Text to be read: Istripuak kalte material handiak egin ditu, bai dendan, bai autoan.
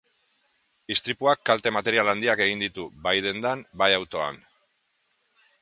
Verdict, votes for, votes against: accepted, 2, 0